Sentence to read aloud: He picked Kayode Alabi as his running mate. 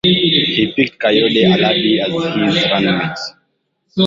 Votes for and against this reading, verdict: 1, 2, rejected